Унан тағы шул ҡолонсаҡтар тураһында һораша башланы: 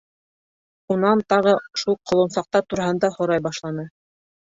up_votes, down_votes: 2, 3